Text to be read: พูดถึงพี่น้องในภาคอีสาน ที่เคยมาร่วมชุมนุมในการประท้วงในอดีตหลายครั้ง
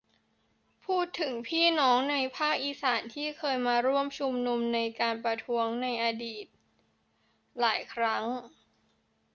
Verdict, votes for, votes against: accepted, 2, 0